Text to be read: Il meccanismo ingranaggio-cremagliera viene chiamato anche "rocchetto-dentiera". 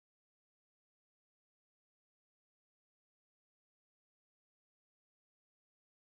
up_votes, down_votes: 0, 2